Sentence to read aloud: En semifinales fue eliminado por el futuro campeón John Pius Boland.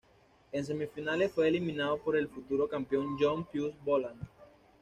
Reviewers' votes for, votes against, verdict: 2, 0, accepted